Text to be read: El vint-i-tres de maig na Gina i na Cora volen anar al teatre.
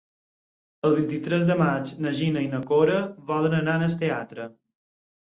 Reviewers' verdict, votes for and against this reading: accepted, 4, 0